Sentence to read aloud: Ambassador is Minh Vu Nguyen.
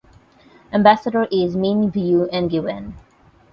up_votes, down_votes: 8, 0